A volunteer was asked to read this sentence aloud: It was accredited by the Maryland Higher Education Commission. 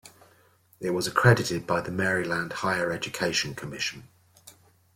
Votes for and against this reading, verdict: 2, 0, accepted